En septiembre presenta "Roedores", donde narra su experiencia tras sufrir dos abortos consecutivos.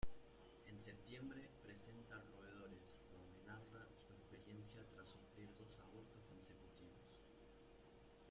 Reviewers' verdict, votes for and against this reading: rejected, 0, 3